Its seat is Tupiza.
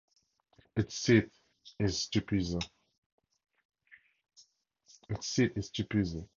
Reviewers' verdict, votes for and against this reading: rejected, 2, 2